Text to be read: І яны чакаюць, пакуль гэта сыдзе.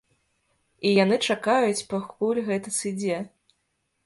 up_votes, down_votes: 1, 2